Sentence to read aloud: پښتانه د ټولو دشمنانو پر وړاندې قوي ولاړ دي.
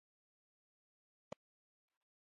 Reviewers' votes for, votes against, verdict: 0, 2, rejected